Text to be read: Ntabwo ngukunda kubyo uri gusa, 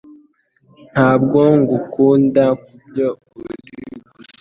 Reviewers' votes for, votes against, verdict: 2, 0, accepted